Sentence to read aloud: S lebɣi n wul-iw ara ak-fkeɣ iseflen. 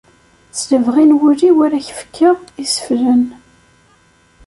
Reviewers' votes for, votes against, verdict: 2, 0, accepted